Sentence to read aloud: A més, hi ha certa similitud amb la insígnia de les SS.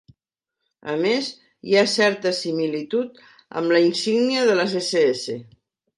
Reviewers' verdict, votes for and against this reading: accepted, 3, 0